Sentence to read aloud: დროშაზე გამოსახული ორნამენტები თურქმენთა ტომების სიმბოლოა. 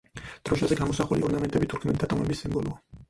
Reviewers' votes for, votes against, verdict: 0, 4, rejected